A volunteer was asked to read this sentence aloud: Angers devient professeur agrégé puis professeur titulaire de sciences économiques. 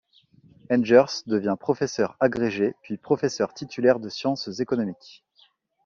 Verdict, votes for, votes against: rejected, 0, 2